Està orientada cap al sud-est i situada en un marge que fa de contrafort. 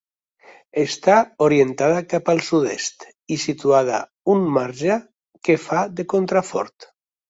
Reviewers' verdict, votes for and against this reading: rejected, 0, 2